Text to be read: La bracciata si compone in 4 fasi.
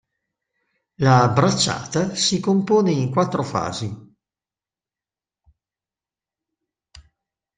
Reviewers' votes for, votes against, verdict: 0, 2, rejected